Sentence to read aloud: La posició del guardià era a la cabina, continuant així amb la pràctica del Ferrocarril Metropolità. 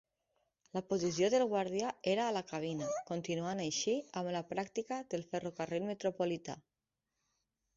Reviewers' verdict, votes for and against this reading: rejected, 1, 2